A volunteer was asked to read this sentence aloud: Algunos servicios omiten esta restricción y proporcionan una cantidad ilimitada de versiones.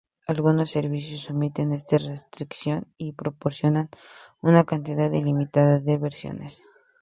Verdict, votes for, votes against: accepted, 4, 2